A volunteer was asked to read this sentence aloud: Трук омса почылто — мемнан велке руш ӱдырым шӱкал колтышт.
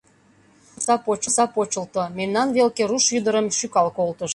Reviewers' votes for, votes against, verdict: 0, 2, rejected